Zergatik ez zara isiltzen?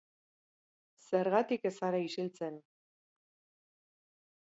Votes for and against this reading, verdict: 2, 0, accepted